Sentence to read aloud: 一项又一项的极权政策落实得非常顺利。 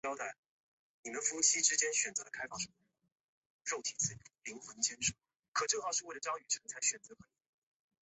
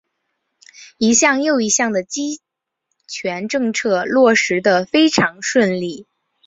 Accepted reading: second